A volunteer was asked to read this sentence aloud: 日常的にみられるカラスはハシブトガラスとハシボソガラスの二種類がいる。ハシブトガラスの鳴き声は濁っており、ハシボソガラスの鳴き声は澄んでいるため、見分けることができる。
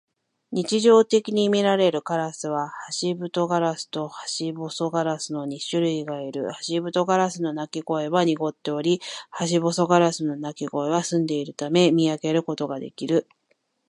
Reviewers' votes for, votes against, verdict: 2, 1, accepted